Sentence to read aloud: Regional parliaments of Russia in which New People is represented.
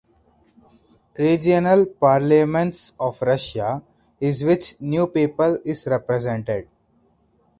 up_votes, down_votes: 2, 4